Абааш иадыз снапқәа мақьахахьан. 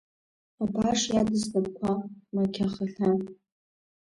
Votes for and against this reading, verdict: 1, 2, rejected